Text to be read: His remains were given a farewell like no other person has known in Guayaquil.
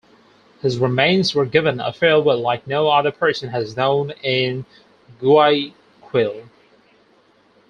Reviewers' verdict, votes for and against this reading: rejected, 2, 4